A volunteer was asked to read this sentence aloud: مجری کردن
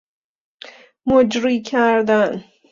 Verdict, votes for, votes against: accepted, 2, 0